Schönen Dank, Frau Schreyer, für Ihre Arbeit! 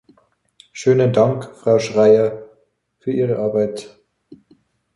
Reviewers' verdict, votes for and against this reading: accepted, 2, 0